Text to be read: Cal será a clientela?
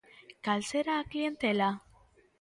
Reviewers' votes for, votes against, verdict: 2, 0, accepted